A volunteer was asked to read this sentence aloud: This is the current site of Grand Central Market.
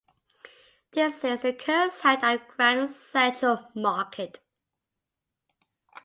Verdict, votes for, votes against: accepted, 2, 0